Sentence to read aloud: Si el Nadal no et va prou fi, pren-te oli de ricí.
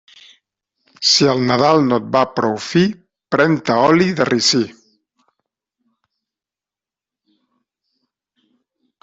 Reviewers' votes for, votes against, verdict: 2, 0, accepted